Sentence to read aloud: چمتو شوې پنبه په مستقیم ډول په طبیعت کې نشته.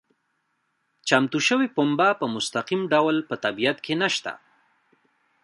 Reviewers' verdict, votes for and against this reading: rejected, 1, 2